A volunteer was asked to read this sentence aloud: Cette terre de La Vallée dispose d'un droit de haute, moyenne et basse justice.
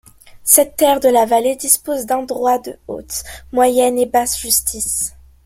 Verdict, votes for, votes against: accepted, 3, 0